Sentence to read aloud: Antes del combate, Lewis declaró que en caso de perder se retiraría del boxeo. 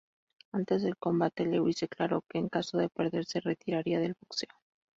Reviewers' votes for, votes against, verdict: 2, 0, accepted